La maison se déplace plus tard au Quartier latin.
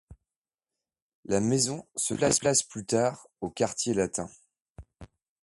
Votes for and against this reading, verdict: 1, 2, rejected